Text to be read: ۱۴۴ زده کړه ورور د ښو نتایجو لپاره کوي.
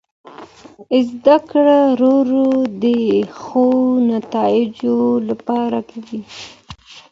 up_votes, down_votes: 0, 2